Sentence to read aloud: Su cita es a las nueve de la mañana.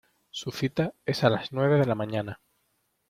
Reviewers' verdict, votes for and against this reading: accepted, 2, 0